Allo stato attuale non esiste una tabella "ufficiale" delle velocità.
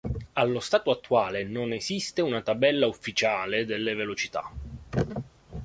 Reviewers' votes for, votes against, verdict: 2, 0, accepted